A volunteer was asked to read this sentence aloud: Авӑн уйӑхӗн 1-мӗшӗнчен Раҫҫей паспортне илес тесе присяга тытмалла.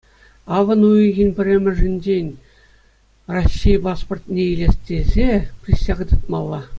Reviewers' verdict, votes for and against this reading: rejected, 0, 2